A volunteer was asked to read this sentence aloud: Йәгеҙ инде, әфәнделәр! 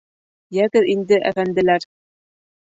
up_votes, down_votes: 1, 2